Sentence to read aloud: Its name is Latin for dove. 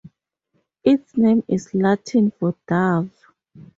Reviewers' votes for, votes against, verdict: 2, 0, accepted